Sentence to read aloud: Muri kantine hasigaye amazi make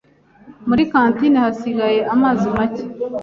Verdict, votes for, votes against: accepted, 2, 0